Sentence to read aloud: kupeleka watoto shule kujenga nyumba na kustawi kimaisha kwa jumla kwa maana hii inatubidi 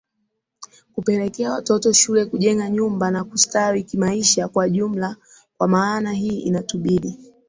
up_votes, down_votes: 4, 2